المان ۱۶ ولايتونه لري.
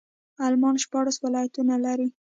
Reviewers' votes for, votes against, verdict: 0, 2, rejected